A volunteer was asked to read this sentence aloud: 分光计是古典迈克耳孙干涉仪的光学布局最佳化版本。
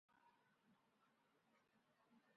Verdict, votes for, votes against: rejected, 0, 6